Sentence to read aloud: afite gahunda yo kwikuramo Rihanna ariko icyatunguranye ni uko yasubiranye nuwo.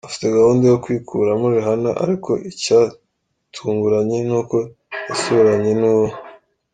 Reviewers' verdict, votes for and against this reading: accepted, 3, 0